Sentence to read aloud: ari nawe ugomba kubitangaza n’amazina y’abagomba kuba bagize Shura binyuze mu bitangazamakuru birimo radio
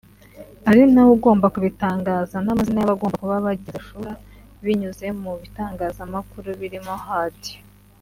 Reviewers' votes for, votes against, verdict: 3, 0, accepted